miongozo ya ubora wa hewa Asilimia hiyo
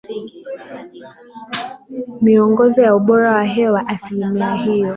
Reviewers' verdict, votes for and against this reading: accepted, 4, 1